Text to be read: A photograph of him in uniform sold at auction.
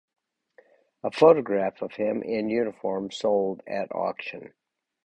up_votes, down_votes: 4, 0